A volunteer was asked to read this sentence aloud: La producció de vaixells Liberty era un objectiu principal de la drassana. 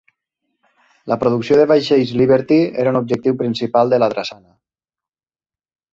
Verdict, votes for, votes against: accepted, 3, 0